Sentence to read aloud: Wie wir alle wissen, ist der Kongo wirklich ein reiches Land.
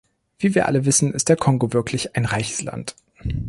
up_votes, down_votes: 2, 0